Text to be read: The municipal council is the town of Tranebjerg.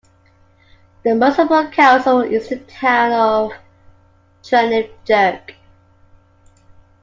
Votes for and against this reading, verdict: 2, 1, accepted